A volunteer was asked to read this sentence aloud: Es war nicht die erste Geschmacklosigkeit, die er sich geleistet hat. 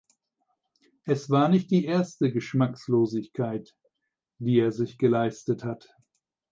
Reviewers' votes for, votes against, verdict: 2, 4, rejected